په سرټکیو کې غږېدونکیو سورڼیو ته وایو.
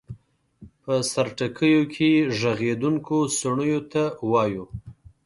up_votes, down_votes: 1, 2